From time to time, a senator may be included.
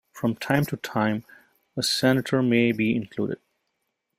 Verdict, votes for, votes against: accepted, 2, 0